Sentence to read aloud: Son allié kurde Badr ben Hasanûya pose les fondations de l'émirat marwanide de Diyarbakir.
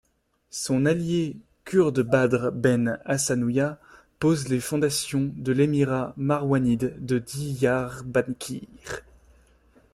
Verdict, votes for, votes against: rejected, 0, 2